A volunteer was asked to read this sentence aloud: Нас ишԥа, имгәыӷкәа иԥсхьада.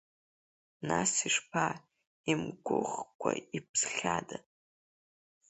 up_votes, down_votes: 3, 2